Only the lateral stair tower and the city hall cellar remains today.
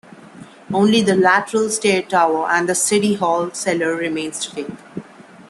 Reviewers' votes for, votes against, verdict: 1, 2, rejected